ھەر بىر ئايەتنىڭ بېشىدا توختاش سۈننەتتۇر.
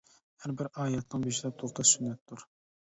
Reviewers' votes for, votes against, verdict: 1, 2, rejected